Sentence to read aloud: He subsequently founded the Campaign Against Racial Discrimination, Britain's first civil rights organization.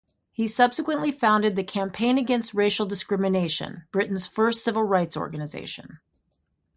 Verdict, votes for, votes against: accepted, 6, 0